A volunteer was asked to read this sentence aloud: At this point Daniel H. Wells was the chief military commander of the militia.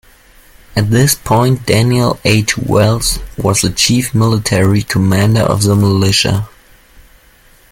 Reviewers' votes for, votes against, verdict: 2, 0, accepted